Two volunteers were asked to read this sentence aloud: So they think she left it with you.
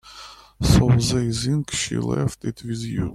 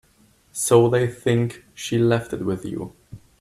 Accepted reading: second